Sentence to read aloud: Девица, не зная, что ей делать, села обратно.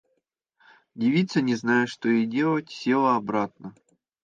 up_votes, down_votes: 2, 0